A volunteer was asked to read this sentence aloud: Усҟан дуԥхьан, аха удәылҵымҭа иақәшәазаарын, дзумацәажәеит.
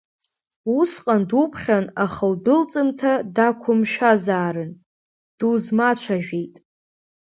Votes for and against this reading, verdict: 0, 2, rejected